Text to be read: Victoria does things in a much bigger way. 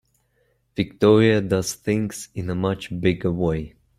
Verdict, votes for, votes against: accepted, 2, 0